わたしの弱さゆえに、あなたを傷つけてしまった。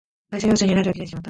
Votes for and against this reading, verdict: 0, 3, rejected